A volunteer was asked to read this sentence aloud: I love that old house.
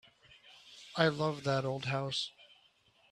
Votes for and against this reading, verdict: 4, 0, accepted